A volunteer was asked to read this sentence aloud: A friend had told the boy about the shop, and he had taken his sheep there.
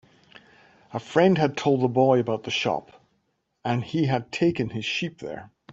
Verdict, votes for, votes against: accepted, 5, 0